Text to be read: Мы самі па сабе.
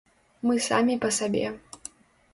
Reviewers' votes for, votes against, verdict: 2, 0, accepted